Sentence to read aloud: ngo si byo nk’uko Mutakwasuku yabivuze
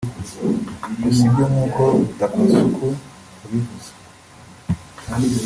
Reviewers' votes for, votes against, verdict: 1, 2, rejected